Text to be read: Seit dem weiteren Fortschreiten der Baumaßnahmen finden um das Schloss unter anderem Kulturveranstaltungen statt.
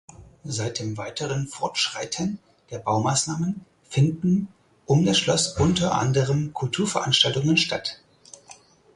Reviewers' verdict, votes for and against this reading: accepted, 4, 0